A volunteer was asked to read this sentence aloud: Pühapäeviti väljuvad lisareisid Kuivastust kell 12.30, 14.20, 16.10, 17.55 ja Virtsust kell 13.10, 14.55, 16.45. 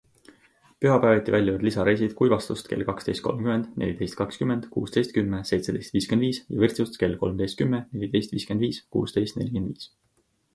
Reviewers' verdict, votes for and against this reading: rejected, 0, 2